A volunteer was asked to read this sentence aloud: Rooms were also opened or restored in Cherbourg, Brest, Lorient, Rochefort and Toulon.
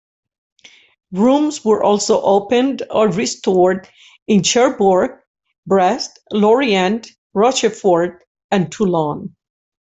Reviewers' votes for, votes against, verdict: 2, 1, accepted